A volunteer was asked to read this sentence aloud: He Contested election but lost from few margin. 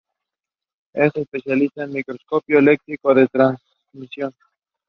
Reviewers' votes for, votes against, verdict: 0, 2, rejected